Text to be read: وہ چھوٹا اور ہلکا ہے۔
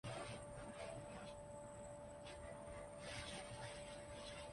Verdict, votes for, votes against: rejected, 1, 3